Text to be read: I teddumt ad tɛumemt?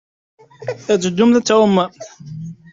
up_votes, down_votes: 1, 2